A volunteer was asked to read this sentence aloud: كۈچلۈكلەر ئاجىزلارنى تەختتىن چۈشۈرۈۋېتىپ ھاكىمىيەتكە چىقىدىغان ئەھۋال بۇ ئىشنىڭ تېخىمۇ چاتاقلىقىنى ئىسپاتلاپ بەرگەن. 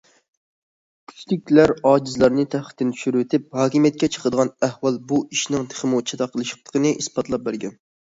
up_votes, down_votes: 0, 2